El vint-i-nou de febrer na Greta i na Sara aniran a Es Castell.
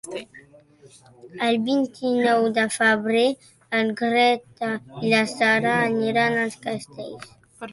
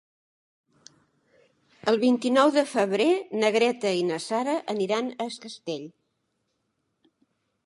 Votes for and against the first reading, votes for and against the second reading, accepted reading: 1, 2, 3, 0, second